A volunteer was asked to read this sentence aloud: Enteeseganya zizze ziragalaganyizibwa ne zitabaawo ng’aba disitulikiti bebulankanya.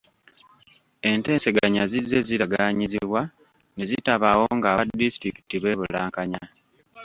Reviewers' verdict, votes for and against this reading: rejected, 1, 2